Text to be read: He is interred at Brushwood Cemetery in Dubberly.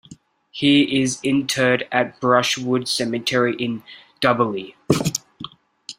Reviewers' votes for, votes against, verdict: 2, 0, accepted